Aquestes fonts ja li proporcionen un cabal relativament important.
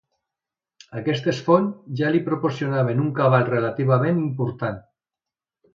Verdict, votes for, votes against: rejected, 1, 2